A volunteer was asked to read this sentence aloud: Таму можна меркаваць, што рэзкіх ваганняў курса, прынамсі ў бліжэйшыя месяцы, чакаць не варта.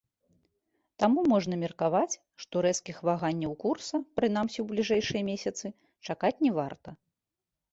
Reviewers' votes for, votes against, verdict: 2, 0, accepted